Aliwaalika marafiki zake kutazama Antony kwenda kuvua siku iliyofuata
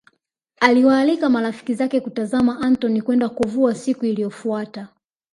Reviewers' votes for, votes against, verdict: 5, 0, accepted